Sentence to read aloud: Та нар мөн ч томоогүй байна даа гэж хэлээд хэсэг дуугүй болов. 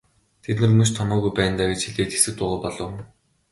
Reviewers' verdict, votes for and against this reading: accepted, 3, 0